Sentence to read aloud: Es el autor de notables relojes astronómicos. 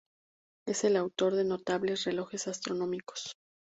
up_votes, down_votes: 2, 0